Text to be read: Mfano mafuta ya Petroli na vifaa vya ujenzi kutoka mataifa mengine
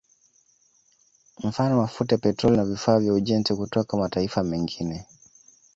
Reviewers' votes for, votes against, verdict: 2, 0, accepted